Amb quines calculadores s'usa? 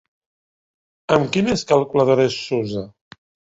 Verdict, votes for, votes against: accepted, 2, 0